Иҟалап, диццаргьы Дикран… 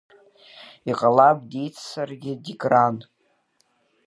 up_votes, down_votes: 2, 1